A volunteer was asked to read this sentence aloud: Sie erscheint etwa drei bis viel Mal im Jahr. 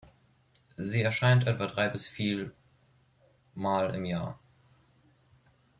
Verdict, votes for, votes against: rejected, 1, 2